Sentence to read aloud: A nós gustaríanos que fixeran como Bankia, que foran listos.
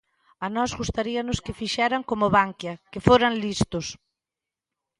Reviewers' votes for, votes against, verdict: 2, 0, accepted